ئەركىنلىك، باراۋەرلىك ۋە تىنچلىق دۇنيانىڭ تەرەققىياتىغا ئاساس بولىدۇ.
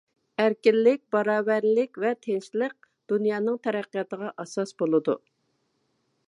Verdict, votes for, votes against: accepted, 2, 0